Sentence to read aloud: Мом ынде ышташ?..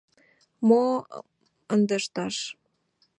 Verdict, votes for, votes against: rejected, 0, 2